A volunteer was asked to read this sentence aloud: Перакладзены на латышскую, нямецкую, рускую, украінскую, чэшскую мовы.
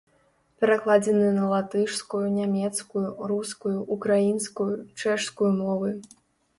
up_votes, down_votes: 0, 3